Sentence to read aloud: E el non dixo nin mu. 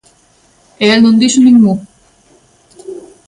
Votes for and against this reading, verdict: 2, 0, accepted